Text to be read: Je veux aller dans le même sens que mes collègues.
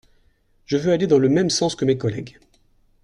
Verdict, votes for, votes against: accepted, 2, 0